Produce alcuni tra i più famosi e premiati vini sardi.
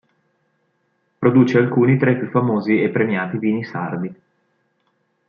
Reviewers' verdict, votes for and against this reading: accepted, 2, 0